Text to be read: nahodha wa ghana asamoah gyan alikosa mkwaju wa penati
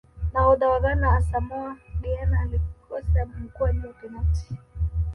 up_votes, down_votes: 1, 2